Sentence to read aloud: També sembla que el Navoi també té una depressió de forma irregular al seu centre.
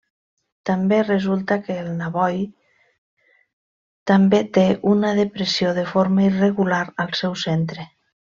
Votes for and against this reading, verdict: 0, 2, rejected